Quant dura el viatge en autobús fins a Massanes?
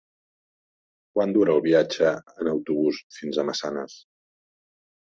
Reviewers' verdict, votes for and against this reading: accepted, 2, 0